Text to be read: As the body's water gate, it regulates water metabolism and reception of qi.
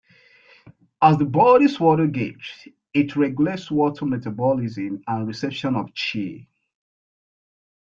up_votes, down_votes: 2, 0